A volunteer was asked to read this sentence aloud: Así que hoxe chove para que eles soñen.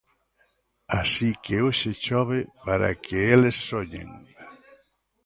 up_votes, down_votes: 2, 0